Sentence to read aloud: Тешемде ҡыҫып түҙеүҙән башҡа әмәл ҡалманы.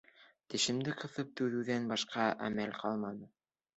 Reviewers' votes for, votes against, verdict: 2, 0, accepted